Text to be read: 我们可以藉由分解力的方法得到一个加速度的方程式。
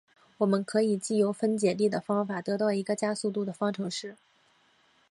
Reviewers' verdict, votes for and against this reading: accepted, 2, 0